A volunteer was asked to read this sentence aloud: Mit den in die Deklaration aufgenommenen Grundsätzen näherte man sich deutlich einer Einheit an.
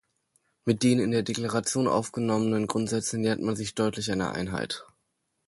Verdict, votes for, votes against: rejected, 1, 2